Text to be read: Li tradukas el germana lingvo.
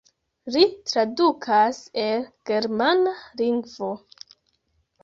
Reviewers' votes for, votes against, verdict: 2, 0, accepted